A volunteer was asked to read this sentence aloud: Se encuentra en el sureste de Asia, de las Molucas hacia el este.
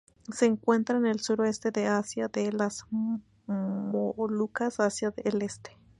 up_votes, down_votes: 0, 2